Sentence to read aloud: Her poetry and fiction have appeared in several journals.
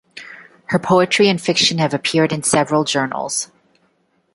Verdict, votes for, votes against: accepted, 2, 0